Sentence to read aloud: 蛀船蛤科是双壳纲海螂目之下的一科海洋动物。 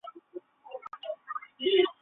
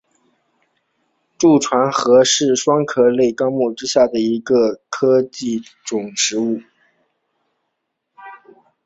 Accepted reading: second